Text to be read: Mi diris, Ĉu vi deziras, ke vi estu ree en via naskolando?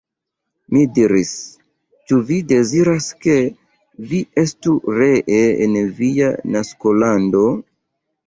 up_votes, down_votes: 2, 0